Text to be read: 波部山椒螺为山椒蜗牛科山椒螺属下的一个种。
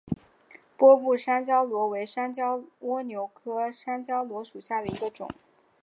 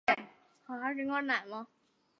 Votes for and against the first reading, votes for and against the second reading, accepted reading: 2, 0, 0, 4, first